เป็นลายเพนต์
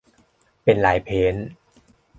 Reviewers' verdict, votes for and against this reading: accepted, 2, 0